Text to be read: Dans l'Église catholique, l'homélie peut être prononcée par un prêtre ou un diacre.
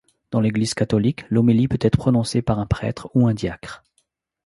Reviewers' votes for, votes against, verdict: 2, 0, accepted